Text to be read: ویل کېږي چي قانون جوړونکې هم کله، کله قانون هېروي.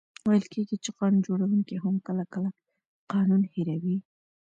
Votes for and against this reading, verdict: 1, 2, rejected